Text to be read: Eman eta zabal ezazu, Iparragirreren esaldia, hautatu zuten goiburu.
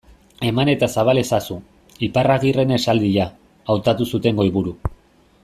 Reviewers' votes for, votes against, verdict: 2, 0, accepted